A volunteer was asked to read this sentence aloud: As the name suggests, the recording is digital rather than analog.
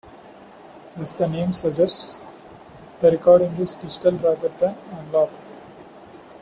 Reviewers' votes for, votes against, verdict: 1, 2, rejected